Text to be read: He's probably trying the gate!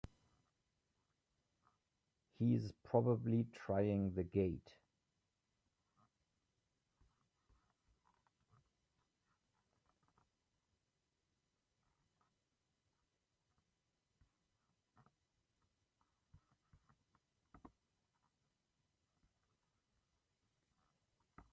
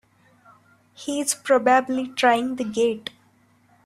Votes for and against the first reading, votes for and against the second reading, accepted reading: 1, 2, 3, 2, second